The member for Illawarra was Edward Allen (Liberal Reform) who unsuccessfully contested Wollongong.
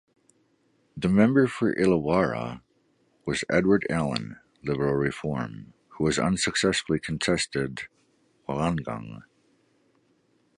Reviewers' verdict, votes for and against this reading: rejected, 1, 2